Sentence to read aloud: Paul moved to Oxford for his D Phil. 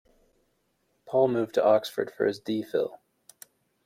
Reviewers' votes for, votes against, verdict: 2, 0, accepted